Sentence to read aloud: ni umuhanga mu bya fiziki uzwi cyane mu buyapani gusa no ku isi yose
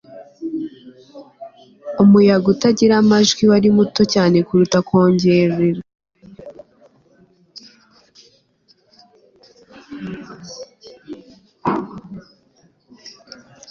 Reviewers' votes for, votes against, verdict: 2, 3, rejected